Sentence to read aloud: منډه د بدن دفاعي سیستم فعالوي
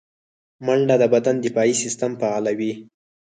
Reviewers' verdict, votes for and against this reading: rejected, 2, 4